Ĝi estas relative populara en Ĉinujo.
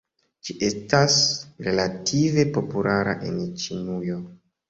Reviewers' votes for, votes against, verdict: 2, 0, accepted